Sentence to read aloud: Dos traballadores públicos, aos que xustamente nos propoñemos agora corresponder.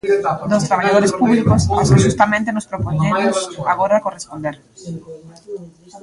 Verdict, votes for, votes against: rejected, 0, 2